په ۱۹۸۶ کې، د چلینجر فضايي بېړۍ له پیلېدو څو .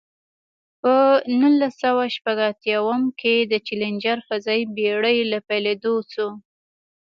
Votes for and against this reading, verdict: 0, 2, rejected